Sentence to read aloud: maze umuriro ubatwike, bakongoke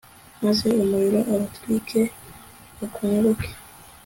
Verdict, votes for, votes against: accepted, 2, 0